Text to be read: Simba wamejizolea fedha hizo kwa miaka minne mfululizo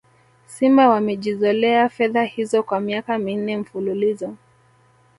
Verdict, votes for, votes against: accepted, 3, 0